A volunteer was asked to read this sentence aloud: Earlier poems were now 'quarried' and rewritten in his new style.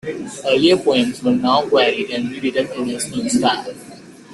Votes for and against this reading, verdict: 1, 2, rejected